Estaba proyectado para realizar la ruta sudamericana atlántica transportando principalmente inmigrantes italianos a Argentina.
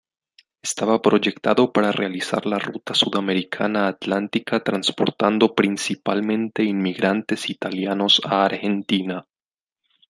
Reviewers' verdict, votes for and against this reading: accepted, 2, 0